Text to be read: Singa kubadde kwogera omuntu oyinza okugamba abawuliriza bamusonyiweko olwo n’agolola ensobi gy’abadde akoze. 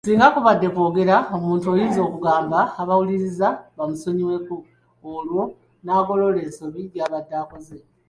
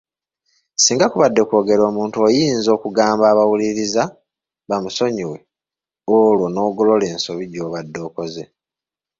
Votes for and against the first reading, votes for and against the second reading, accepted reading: 2, 0, 1, 2, first